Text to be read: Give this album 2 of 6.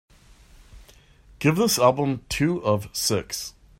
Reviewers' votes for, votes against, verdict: 0, 2, rejected